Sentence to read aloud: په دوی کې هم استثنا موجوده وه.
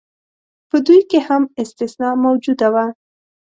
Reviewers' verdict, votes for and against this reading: accepted, 2, 0